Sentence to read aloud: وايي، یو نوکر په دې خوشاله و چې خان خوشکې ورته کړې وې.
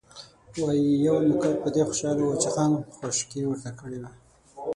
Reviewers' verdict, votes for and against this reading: rejected, 0, 6